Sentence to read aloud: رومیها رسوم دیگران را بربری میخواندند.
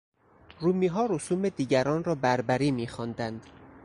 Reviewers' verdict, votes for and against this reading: accepted, 4, 0